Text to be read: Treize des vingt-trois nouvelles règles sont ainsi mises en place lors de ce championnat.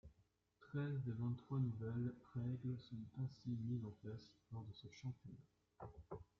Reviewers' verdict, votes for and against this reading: rejected, 1, 2